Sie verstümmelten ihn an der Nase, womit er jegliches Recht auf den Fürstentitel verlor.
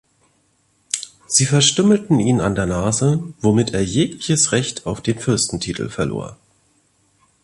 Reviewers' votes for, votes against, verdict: 2, 0, accepted